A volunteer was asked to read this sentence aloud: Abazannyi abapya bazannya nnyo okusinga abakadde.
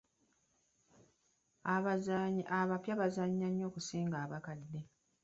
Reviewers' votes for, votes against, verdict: 1, 2, rejected